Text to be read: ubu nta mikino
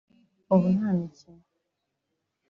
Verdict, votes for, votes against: accepted, 2, 0